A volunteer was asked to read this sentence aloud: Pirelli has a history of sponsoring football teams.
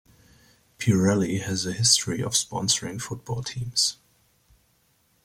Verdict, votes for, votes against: accepted, 2, 1